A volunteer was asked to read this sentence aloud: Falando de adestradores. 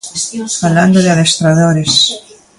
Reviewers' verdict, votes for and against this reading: rejected, 0, 2